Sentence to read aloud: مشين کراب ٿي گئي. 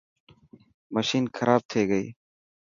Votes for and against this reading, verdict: 4, 0, accepted